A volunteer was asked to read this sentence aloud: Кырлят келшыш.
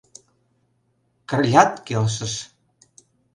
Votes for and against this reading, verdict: 2, 0, accepted